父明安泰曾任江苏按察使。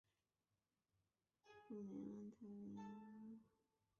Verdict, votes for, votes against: rejected, 1, 4